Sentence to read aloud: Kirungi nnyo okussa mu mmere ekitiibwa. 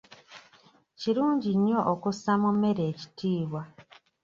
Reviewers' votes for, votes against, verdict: 2, 0, accepted